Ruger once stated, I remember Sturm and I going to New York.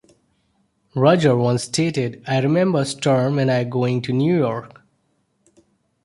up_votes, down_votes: 1, 2